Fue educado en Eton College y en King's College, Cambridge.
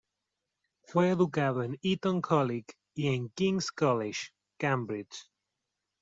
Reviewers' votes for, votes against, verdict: 1, 2, rejected